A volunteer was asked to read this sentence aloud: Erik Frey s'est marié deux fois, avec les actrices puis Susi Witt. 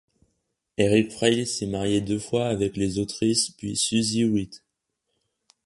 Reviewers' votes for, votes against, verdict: 1, 2, rejected